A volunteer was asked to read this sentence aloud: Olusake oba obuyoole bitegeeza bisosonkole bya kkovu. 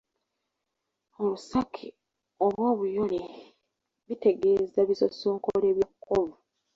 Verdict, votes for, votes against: rejected, 0, 2